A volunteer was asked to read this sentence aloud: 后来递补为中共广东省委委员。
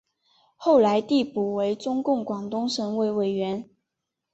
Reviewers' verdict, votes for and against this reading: accepted, 2, 0